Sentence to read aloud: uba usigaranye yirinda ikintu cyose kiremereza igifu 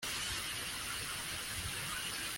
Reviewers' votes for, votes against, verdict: 0, 2, rejected